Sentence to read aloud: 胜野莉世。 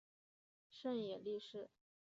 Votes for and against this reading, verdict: 1, 2, rejected